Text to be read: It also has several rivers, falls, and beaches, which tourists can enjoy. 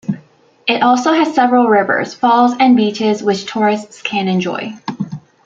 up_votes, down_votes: 2, 0